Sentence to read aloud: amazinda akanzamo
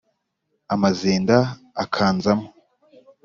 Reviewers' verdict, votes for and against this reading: accepted, 4, 0